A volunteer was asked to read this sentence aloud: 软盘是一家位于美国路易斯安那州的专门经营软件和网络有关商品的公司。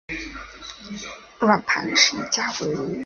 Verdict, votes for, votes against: rejected, 0, 2